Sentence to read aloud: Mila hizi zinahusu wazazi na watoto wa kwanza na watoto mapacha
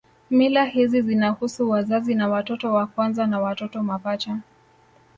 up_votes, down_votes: 0, 2